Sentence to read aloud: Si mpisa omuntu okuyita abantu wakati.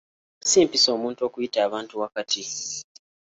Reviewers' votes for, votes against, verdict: 2, 0, accepted